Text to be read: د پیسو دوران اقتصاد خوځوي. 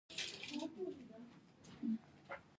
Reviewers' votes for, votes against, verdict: 0, 2, rejected